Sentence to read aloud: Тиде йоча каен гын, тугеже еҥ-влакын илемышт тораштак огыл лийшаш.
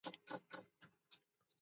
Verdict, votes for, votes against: rejected, 0, 2